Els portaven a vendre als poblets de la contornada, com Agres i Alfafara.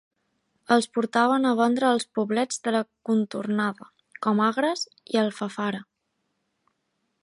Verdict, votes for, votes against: accepted, 2, 0